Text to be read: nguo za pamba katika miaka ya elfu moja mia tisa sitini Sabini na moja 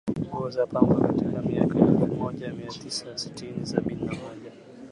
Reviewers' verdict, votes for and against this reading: accepted, 2, 0